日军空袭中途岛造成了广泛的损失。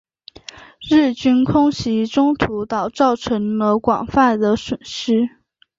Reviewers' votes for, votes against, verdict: 5, 0, accepted